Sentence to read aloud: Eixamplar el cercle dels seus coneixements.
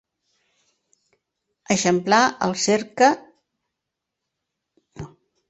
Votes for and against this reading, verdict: 0, 2, rejected